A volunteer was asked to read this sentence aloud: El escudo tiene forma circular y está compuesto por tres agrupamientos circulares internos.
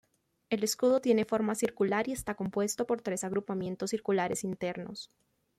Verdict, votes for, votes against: accepted, 2, 0